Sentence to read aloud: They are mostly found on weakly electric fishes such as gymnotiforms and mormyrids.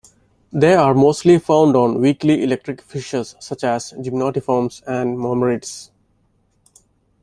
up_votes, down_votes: 2, 0